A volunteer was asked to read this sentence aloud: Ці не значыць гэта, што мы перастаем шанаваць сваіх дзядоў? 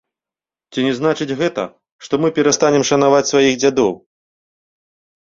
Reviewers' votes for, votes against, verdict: 2, 1, accepted